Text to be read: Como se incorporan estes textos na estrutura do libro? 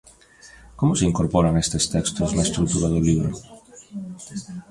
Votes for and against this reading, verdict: 3, 0, accepted